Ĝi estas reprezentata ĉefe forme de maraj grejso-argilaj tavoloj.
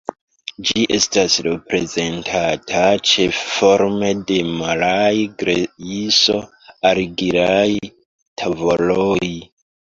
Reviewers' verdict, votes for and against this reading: rejected, 0, 2